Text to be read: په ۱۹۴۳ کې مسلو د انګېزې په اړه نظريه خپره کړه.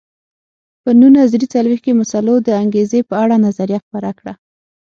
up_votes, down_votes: 0, 2